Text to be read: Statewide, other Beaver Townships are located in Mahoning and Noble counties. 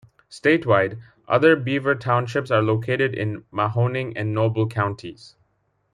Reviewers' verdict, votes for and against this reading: accepted, 2, 0